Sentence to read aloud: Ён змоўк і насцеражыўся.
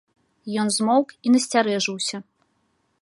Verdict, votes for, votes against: rejected, 0, 2